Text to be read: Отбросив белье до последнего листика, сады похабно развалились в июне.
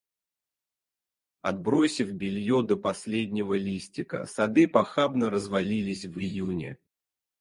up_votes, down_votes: 0, 2